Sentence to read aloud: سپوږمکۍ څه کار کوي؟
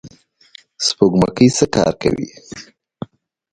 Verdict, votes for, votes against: rejected, 0, 2